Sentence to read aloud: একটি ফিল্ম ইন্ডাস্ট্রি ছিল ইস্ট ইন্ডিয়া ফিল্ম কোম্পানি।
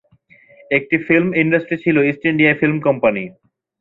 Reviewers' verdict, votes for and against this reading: accepted, 2, 0